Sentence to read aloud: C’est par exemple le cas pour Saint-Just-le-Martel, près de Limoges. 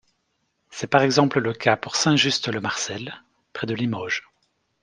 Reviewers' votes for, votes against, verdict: 0, 2, rejected